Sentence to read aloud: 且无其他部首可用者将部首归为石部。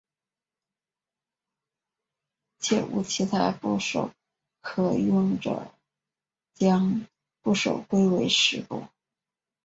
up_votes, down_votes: 2, 0